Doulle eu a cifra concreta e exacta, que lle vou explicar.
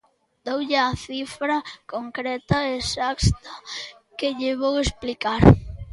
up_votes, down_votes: 0, 2